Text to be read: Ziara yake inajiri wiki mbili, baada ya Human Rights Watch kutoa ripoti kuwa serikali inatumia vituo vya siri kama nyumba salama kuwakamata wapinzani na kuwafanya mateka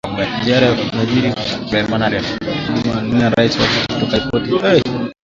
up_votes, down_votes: 1, 2